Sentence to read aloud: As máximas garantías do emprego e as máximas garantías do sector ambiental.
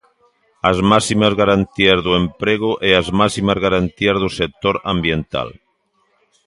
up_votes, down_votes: 2, 0